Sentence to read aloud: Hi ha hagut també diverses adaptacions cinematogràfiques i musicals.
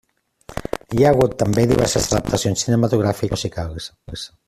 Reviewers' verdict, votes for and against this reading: rejected, 0, 2